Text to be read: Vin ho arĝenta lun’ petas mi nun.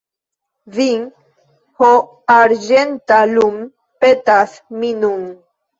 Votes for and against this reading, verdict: 1, 2, rejected